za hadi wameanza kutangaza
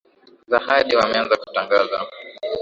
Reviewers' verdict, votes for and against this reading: accepted, 9, 1